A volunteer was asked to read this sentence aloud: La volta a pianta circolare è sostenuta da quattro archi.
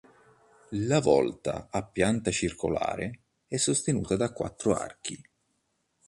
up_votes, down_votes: 2, 0